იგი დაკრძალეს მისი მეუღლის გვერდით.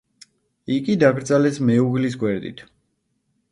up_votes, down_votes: 1, 2